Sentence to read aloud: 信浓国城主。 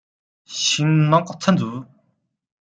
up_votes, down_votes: 0, 2